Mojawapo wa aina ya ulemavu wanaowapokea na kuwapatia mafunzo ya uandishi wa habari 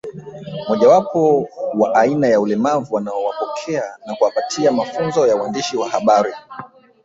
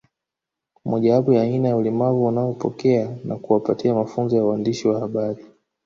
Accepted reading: second